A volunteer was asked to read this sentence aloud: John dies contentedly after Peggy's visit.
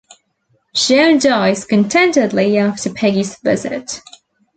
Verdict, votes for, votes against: rejected, 0, 2